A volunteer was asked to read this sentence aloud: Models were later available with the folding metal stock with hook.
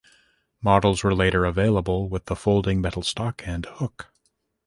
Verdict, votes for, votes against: rejected, 1, 3